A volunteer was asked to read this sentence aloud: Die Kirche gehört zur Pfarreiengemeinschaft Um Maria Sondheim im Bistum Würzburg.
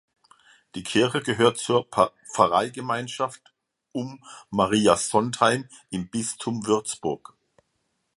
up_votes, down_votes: 0, 2